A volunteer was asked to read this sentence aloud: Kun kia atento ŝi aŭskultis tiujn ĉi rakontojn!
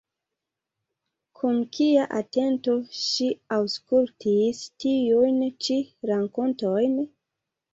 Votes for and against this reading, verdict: 3, 0, accepted